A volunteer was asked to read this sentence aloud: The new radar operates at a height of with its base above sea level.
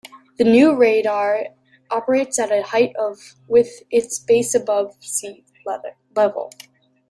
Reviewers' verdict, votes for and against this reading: rejected, 1, 2